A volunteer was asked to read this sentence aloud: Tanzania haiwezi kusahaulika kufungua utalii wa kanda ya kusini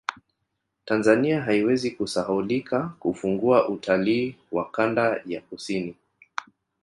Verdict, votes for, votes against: rejected, 1, 2